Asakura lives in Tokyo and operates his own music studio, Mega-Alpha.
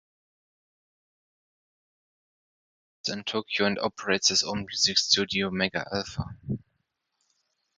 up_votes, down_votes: 3, 6